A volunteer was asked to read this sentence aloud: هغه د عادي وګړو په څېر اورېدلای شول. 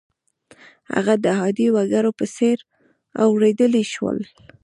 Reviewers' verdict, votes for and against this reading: rejected, 1, 2